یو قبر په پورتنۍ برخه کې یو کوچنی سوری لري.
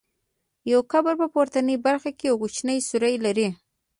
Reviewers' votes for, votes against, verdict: 0, 2, rejected